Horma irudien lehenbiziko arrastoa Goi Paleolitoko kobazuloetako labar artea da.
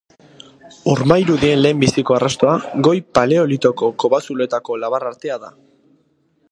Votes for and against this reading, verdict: 0, 2, rejected